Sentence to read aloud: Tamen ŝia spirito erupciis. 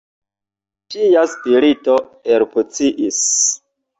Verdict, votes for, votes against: rejected, 1, 2